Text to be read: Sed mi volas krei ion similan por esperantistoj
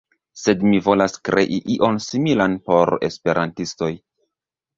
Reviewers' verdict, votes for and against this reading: rejected, 1, 2